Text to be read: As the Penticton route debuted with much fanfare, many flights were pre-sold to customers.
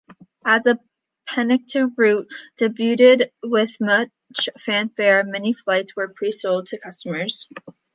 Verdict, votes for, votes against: rejected, 0, 2